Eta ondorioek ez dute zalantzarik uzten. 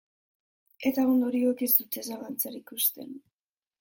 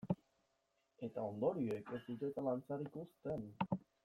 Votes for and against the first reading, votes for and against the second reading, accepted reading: 2, 0, 0, 2, first